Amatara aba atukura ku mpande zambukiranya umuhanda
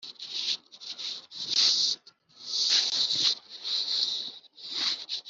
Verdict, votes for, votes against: rejected, 1, 4